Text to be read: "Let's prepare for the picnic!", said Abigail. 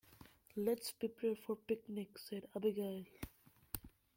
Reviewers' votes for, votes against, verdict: 0, 2, rejected